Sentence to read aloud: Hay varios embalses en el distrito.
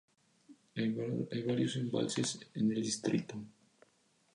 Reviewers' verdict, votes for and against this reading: accepted, 2, 0